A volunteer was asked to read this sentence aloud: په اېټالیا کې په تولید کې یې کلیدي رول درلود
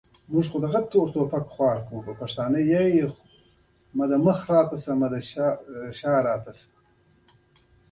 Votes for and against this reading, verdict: 0, 2, rejected